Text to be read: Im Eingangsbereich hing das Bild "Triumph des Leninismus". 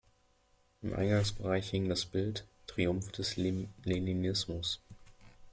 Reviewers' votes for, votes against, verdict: 1, 2, rejected